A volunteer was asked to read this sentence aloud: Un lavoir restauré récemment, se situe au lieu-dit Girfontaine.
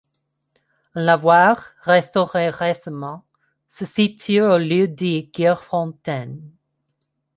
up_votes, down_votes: 0, 2